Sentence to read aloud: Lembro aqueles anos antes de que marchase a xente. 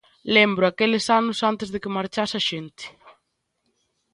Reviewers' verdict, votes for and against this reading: accepted, 2, 0